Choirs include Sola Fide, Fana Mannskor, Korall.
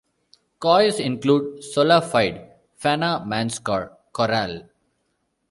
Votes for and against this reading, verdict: 1, 2, rejected